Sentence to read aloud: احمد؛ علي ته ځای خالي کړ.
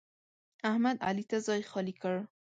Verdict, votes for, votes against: accepted, 2, 0